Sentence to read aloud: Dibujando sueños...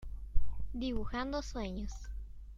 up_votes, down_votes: 2, 0